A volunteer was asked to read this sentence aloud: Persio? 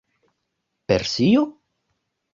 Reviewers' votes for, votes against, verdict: 2, 0, accepted